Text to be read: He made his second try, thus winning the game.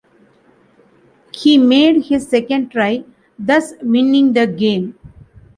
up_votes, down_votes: 2, 0